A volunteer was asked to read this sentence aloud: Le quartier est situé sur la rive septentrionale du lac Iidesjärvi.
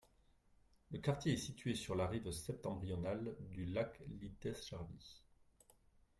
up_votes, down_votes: 1, 2